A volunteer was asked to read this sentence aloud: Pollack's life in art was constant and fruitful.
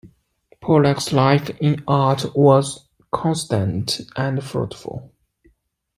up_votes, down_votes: 2, 0